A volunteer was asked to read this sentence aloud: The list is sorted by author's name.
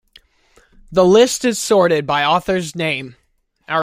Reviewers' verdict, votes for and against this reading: rejected, 1, 2